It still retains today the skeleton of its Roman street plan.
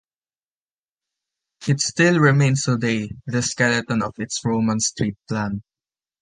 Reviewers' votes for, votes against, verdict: 0, 2, rejected